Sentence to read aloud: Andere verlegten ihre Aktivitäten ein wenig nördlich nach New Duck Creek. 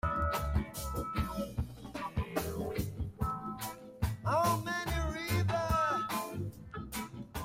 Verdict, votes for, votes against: rejected, 0, 2